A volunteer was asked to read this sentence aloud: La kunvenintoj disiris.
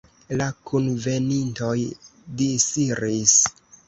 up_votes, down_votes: 3, 1